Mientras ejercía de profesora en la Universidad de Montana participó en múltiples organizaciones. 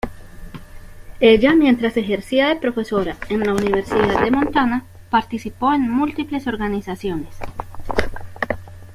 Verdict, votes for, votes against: rejected, 1, 2